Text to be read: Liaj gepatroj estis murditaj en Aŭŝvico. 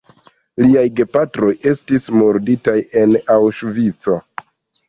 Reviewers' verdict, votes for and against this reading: rejected, 0, 2